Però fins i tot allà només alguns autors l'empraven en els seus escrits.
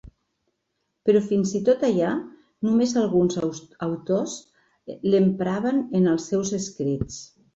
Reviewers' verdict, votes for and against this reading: rejected, 1, 2